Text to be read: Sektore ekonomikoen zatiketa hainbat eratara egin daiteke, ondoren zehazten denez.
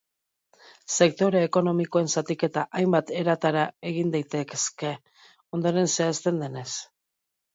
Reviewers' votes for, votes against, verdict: 0, 2, rejected